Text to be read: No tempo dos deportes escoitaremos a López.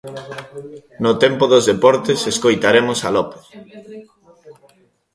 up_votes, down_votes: 0, 2